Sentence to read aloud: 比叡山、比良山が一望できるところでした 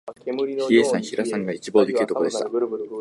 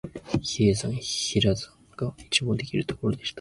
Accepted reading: second